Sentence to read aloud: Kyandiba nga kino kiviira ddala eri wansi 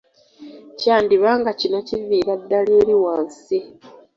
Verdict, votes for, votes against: accepted, 2, 0